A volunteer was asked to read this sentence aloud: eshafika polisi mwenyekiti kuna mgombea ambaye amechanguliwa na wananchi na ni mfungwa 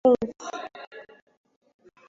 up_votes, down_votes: 0, 2